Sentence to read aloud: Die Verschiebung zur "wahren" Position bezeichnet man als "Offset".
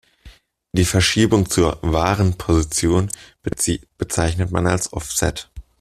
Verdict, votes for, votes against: rejected, 0, 2